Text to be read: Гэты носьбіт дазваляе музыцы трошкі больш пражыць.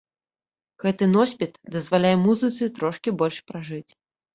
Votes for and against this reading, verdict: 2, 0, accepted